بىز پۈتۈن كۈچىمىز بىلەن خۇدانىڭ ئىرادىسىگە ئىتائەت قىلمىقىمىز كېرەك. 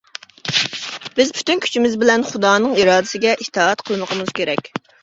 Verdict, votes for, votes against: rejected, 1, 2